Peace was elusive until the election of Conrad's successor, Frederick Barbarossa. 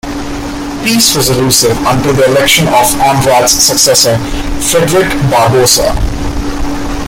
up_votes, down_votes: 1, 2